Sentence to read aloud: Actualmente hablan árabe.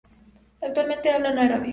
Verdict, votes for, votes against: accepted, 2, 0